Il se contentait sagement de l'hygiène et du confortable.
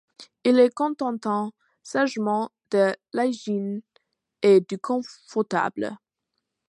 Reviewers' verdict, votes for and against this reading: rejected, 1, 2